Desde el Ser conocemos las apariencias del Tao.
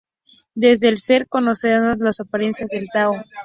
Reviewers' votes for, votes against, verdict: 0, 2, rejected